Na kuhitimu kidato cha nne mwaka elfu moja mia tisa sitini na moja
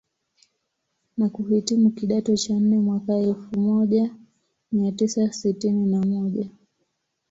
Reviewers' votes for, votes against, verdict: 2, 0, accepted